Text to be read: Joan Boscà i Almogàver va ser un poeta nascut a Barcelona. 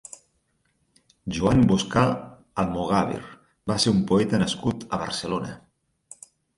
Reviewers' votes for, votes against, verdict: 0, 4, rejected